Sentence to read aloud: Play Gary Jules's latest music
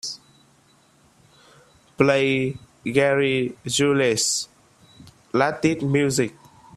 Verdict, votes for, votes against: rejected, 0, 2